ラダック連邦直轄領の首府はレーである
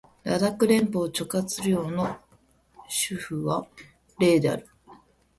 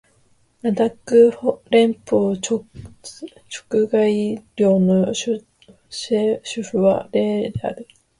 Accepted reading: first